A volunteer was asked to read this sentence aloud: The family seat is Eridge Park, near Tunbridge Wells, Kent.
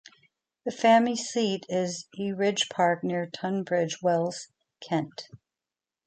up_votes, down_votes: 1, 2